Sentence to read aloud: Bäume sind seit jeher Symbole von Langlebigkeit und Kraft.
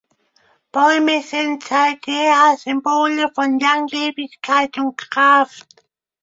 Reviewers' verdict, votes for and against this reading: rejected, 1, 2